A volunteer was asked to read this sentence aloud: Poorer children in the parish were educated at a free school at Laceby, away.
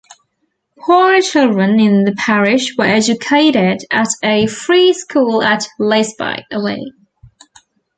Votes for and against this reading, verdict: 1, 2, rejected